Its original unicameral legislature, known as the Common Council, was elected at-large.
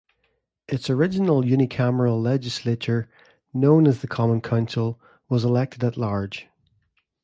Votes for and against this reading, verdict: 2, 0, accepted